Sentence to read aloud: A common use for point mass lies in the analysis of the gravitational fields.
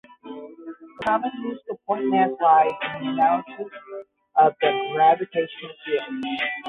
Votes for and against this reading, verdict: 0, 5, rejected